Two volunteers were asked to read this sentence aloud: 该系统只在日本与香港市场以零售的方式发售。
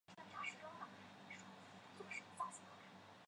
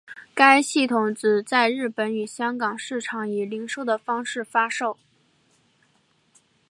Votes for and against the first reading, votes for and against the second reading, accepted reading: 0, 2, 2, 1, second